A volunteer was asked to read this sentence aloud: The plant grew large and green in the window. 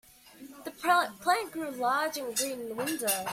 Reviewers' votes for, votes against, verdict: 0, 2, rejected